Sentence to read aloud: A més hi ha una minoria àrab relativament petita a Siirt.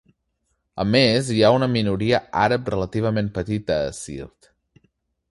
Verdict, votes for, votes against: accepted, 2, 0